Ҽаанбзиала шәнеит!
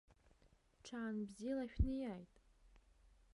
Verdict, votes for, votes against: rejected, 0, 2